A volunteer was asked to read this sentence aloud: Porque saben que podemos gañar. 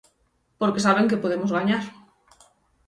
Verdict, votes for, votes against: accepted, 6, 0